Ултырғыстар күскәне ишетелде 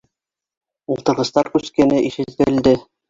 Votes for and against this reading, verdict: 0, 2, rejected